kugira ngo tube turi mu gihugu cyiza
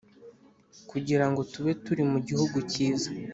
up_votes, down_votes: 2, 0